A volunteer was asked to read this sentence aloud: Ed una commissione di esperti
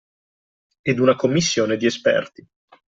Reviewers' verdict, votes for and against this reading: accepted, 2, 0